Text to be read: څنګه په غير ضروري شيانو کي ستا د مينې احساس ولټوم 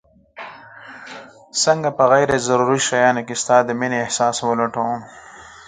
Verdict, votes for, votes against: accepted, 4, 0